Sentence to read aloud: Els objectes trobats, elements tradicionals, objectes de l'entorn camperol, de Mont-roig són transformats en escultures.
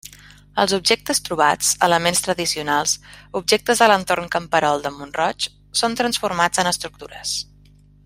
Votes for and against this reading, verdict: 1, 3, rejected